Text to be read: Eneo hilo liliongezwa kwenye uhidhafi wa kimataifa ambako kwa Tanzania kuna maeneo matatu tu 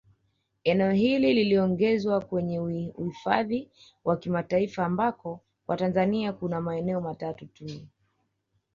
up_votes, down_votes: 2, 0